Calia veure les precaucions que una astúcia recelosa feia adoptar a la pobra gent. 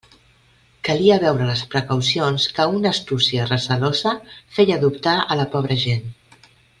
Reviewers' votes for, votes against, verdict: 2, 0, accepted